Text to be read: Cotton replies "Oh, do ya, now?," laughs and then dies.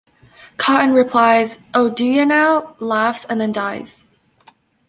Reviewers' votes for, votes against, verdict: 2, 1, accepted